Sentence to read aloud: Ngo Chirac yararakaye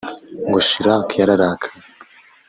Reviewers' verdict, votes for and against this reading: rejected, 0, 2